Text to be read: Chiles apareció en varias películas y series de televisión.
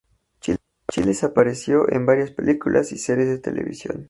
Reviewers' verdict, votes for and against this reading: accepted, 2, 0